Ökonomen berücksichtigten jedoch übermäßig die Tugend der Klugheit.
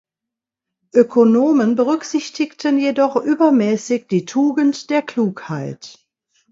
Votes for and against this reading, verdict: 2, 0, accepted